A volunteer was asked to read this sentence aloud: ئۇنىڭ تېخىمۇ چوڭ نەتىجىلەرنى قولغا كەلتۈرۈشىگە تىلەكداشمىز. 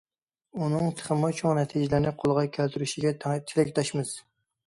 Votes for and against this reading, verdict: 0, 2, rejected